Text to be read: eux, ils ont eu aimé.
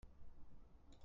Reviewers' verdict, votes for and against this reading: rejected, 1, 2